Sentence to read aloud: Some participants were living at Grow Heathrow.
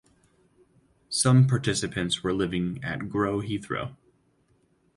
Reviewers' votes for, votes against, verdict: 4, 0, accepted